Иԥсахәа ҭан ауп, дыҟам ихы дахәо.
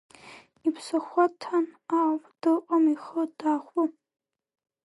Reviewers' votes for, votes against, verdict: 1, 2, rejected